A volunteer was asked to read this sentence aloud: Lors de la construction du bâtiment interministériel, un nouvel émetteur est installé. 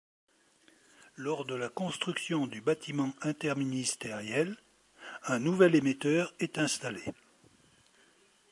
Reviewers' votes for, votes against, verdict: 2, 0, accepted